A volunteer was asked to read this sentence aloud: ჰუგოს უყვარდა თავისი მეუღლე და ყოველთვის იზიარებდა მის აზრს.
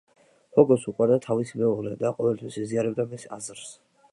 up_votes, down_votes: 2, 0